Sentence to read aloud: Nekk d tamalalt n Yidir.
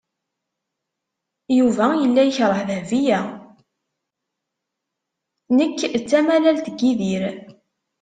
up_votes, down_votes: 1, 2